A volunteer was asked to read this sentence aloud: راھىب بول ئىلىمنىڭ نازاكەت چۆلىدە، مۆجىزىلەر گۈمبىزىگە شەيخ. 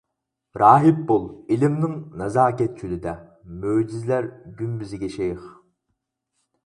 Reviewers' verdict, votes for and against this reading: accepted, 4, 0